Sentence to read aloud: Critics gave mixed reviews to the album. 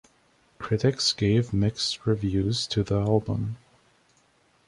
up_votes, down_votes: 2, 0